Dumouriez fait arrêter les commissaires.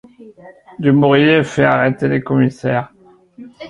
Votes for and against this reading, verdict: 0, 2, rejected